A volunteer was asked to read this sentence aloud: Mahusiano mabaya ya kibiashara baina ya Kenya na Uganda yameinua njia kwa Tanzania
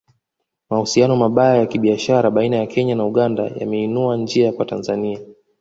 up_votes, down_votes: 2, 1